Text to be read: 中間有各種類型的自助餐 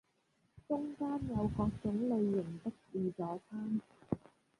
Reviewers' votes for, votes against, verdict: 0, 2, rejected